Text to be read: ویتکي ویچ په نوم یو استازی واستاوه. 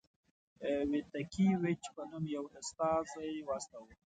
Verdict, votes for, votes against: accepted, 2, 0